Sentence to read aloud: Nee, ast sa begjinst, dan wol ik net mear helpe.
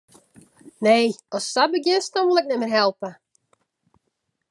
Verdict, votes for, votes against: accepted, 2, 0